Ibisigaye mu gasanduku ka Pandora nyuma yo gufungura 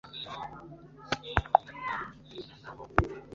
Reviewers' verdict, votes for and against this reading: rejected, 0, 2